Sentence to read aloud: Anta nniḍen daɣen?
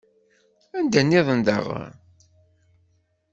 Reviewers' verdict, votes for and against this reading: rejected, 1, 2